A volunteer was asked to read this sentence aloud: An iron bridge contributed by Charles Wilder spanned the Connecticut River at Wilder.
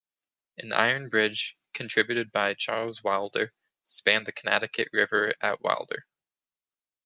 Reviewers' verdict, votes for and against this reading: accepted, 2, 0